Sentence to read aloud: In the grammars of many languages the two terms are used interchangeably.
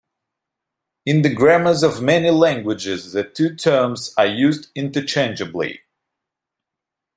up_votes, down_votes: 2, 0